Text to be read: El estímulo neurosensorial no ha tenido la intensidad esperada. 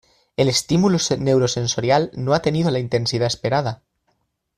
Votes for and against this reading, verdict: 0, 2, rejected